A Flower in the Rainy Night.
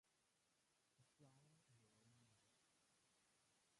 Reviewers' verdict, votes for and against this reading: rejected, 0, 2